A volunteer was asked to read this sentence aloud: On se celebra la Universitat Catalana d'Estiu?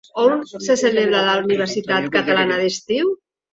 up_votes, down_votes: 2, 1